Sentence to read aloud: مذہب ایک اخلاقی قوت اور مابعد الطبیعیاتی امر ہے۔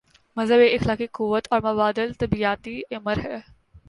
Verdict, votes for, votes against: accepted, 4, 0